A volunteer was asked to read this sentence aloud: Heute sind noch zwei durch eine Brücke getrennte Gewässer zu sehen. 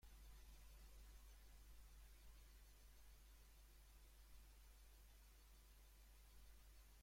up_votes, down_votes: 0, 2